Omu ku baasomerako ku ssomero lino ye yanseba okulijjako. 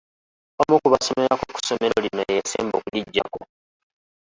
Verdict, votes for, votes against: rejected, 0, 2